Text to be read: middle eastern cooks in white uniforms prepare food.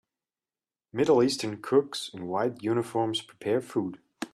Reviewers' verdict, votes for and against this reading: accepted, 2, 0